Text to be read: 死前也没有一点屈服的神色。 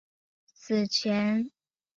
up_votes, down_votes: 0, 3